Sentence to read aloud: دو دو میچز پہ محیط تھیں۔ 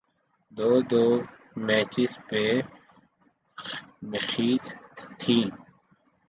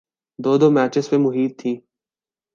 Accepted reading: second